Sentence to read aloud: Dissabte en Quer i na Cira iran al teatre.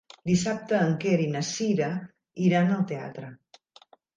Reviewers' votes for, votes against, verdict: 3, 0, accepted